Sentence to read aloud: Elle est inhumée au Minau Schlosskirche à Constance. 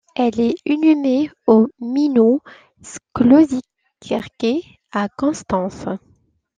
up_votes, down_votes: 0, 2